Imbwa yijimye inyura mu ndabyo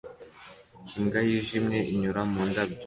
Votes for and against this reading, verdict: 2, 0, accepted